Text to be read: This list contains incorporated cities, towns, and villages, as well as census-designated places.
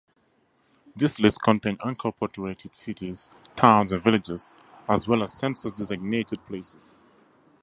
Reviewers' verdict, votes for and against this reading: accepted, 2, 0